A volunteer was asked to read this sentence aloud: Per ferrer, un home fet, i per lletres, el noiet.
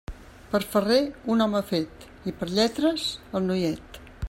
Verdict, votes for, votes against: accepted, 3, 0